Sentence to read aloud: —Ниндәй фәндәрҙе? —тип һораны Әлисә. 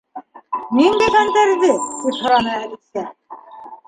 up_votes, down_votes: 1, 2